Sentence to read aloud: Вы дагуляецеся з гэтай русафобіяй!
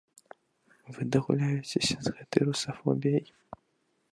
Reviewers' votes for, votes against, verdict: 2, 0, accepted